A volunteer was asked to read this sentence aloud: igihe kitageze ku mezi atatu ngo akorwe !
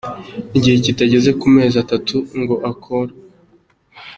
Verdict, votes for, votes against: accepted, 2, 0